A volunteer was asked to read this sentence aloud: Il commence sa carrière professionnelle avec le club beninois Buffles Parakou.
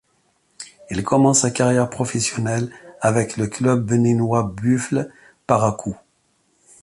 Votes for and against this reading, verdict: 2, 0, accepted